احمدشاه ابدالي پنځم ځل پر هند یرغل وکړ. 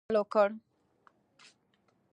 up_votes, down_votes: 2, 0